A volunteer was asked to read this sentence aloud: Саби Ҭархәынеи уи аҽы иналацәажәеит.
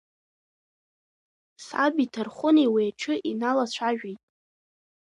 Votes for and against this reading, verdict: 2, 1, accepted